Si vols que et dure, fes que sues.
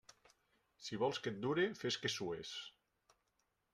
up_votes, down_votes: 3, 0